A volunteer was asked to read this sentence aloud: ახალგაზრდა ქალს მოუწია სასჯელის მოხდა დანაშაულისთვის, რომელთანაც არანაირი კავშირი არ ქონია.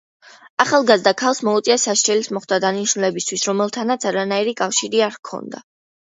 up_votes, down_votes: 0, 2